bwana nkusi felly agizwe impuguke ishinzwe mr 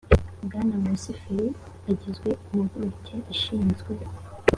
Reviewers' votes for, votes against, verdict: 2, 0, accepted